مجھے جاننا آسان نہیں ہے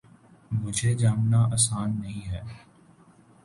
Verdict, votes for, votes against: accepted, 2, 0